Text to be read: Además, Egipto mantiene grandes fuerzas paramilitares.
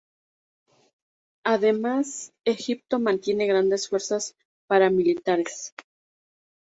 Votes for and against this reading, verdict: 2, 0, accepted